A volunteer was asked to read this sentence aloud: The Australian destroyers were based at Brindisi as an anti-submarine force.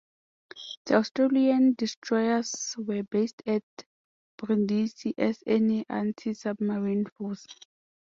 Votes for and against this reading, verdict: 0, 2, rejected